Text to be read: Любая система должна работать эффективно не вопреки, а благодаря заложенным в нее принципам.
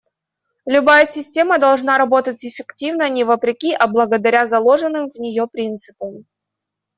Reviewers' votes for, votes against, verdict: 2, 0, accepted